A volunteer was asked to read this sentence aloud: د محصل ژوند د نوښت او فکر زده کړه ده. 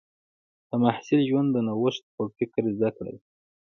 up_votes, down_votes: 2, 1